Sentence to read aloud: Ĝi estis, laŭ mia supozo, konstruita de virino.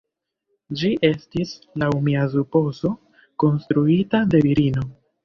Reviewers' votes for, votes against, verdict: 1, 2, rejected